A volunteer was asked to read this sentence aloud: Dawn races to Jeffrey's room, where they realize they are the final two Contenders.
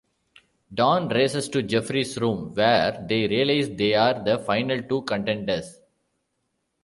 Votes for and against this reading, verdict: 2, 0, accepted